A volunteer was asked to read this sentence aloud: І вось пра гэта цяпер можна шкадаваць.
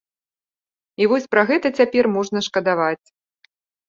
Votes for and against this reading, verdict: 2, 0, accepted